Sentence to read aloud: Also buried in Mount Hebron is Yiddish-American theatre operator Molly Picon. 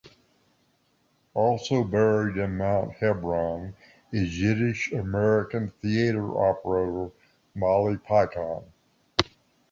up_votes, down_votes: 2, 1